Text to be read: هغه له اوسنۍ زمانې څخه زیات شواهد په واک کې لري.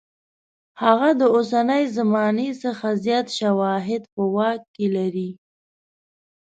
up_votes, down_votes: 1, 2